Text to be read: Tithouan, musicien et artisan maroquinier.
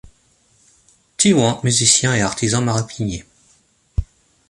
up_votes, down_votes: 0, 2